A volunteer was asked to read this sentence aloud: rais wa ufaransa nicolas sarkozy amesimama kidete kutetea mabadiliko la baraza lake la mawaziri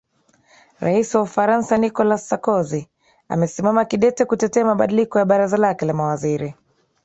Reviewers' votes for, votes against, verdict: 2, 1, accepted